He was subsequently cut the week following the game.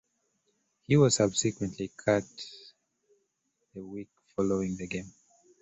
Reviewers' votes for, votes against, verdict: 0, 2, rejected